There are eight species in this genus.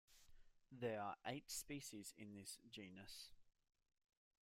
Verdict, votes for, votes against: accepted, 2, 0